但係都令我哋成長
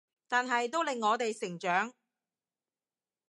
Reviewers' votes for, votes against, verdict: 2, 0, accepted